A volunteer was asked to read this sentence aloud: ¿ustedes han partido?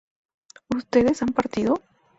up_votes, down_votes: 2, 0